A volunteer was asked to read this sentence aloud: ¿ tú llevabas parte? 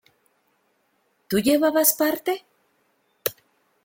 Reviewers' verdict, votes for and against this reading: accepted, 2, 0